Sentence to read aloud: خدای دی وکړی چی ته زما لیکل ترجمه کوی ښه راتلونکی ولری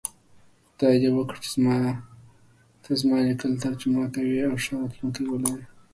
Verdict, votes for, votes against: accepted, 3, 0